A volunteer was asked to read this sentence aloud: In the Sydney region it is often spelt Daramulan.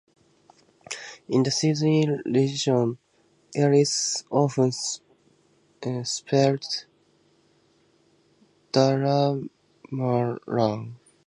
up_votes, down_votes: 2, 0